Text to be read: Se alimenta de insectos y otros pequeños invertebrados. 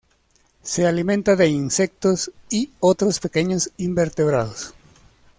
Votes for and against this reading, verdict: 2, 0, accepted